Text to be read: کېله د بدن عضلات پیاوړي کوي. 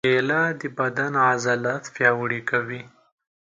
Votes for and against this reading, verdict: 2, 0, accepted